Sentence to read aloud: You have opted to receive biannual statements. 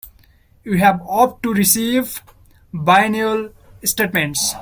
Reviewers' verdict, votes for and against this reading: rejected, 1, 2